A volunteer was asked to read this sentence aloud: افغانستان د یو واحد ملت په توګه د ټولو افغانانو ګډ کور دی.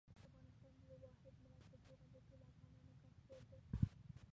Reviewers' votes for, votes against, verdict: 0, 2, rejected